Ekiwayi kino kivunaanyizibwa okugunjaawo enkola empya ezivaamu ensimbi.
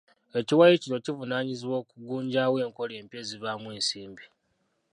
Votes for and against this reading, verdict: 1, 2, rejected